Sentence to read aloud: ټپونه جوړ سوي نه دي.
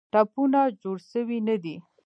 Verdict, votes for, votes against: accepted, 2, 1